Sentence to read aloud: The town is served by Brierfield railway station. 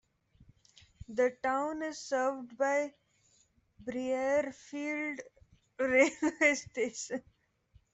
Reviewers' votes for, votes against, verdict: 1, 2, rejected